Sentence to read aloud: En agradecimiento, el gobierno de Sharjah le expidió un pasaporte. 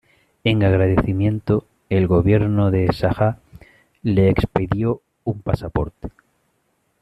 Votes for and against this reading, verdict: 2, 0, accepted